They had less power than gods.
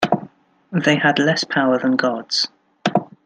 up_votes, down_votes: 2, 0